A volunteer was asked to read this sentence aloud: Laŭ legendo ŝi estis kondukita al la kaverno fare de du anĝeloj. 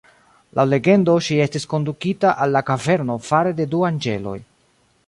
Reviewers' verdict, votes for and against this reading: accepted, 2, 0